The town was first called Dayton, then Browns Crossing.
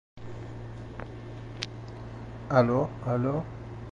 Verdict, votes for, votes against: rejected, 0, 2